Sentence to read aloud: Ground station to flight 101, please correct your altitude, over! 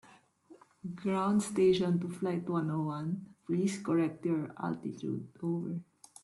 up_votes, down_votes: 0, 2